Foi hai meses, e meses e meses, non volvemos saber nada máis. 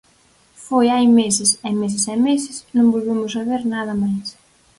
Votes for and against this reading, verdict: 4, 0, accepted